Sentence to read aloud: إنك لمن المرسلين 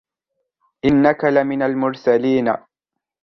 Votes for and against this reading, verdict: 2, 0, accepted